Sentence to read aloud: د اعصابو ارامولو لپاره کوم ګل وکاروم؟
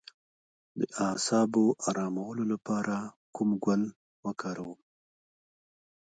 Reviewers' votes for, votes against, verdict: 0, 2, rejected